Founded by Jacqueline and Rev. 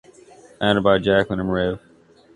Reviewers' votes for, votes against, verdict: 1, 2, rejected